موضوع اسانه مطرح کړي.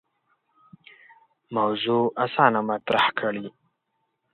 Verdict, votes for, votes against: rejected, 1, 2